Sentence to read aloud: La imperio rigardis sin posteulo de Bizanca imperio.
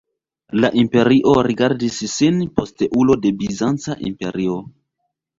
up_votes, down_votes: 1, 2